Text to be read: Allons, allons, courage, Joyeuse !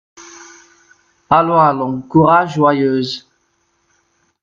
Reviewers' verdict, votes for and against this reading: rejected, 1, 2